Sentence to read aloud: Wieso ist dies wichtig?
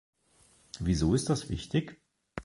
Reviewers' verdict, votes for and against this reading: rejected, 0, 2